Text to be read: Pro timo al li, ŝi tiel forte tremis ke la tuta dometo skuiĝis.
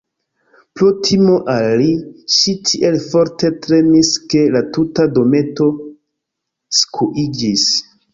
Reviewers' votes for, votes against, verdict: 2, 1, accepted